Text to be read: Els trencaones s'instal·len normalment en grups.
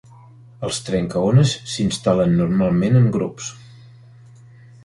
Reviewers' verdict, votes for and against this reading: accepted, 3, 0